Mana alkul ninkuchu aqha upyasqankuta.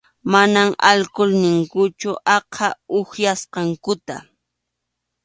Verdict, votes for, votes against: accepted, 2, 0